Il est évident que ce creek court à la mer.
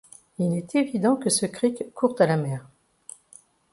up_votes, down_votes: 0, 2